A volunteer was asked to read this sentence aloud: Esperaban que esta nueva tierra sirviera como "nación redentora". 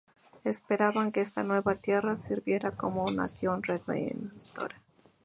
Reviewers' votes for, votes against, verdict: 0, 2, rejected